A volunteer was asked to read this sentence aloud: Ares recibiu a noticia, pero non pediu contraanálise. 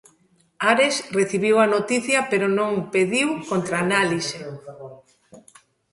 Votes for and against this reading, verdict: 2, 0, accepted